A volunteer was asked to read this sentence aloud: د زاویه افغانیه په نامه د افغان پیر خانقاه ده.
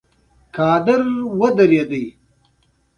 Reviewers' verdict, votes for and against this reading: accepted, 3, 2